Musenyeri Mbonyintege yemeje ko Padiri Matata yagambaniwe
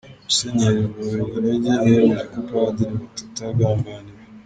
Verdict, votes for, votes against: rejected, 1, 2